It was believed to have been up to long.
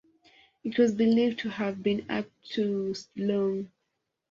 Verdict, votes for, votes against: rejected, 0, 2